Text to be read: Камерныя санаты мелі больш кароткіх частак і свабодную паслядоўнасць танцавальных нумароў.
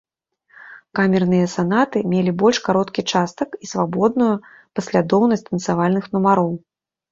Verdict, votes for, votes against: rejected, 1, 2